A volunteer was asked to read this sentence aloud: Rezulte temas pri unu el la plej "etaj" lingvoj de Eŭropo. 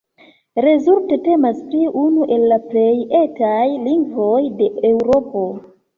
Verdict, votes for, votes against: accepted, 2, 0